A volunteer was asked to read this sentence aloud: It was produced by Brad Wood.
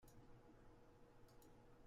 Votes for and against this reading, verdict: 0, 2, rejected